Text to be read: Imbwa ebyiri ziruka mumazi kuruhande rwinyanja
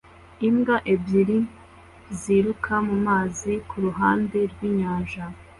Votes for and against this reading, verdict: 2, 0, accepted